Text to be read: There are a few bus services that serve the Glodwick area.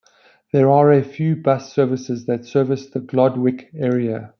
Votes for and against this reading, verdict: 1, 2, rejected